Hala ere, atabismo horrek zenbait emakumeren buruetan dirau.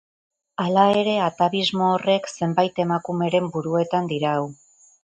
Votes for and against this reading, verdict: 4, 0, accepted